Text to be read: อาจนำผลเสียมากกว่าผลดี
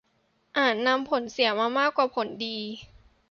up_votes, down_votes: 0, 2